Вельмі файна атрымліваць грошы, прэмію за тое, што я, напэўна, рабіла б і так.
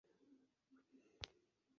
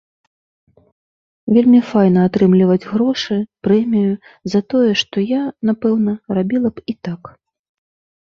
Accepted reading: second